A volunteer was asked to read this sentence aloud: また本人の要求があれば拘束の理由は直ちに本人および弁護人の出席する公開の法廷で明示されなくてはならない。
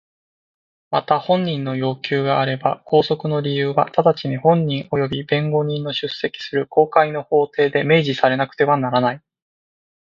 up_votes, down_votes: 2, 0